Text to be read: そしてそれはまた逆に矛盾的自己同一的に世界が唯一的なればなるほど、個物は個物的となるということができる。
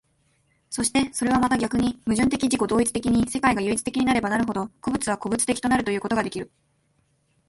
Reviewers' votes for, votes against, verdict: 0, 2, rejected